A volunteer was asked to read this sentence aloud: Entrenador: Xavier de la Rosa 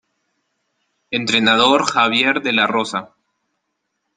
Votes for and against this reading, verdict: 2, 0, accepted